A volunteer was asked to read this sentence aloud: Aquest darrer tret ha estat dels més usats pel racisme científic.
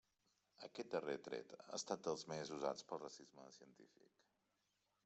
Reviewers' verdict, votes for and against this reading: rejected, 0, 2